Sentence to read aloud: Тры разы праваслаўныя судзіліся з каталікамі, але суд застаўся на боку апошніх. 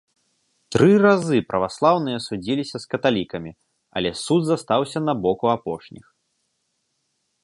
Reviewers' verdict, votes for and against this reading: rejected, 0, 2